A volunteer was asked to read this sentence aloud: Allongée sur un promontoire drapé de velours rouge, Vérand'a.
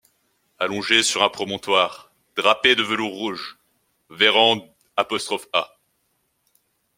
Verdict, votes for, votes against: rejected, 0, 2